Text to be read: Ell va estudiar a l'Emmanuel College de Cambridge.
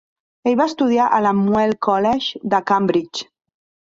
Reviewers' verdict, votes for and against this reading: rejected, 0, 2